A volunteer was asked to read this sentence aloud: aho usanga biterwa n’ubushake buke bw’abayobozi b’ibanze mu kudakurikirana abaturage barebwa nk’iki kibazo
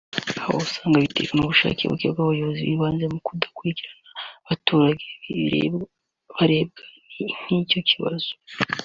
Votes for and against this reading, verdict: 0, 2, rejected